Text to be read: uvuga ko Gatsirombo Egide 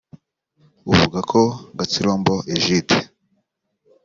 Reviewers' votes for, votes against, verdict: 3, 0, accepted